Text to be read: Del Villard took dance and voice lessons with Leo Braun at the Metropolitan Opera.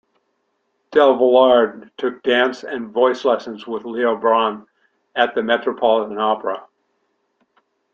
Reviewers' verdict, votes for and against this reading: accepted, 2, 0